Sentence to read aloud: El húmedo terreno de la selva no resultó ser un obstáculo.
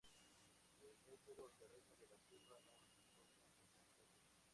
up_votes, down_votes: 0, 2